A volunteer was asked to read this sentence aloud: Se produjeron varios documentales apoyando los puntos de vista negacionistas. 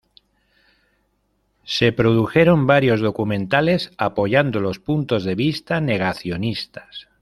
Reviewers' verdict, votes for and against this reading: accepted, 2, 0